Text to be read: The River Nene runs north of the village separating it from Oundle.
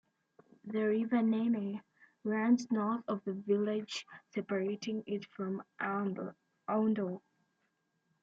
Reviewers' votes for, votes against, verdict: 0, 2, rejected